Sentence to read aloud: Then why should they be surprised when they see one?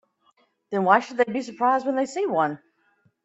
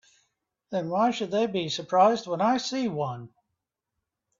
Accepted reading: first